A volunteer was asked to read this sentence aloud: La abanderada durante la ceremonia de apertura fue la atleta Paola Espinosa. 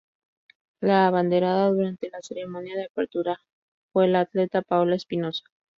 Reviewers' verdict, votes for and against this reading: accepted, 6, 0